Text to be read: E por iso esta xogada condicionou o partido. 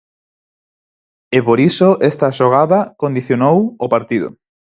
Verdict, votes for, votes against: accepted, 4, 0